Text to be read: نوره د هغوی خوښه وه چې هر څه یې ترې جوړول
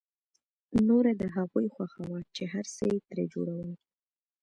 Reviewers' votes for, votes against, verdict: 2, 0, accepted